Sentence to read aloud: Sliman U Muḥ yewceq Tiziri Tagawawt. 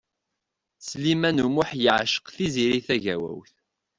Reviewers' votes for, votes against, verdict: 2, 0, accepted